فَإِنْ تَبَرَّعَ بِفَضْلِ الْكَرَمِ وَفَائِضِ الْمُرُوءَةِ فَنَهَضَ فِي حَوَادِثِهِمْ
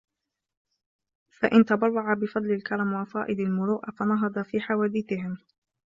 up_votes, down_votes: 2, 0